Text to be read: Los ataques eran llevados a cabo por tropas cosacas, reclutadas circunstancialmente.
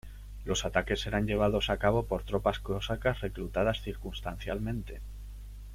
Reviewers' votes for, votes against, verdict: 0, 2, rejected